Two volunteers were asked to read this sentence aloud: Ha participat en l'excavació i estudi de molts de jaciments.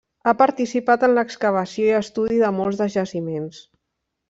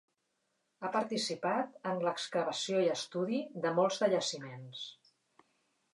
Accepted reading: second